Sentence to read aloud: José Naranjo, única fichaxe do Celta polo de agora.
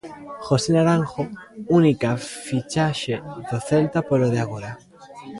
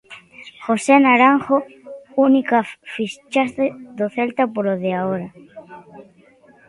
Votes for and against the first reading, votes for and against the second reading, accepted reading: 2, 1, 0, 2, first